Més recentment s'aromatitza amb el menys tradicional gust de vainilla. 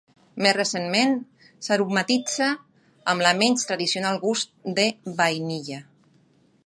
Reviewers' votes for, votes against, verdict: 2, 1, accepted